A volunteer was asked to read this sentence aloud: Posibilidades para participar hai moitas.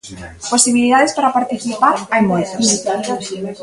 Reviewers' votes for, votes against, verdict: 1, 2, rejected